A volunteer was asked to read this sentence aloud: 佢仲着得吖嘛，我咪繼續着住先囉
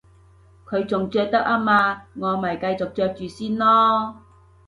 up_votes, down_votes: 3, 0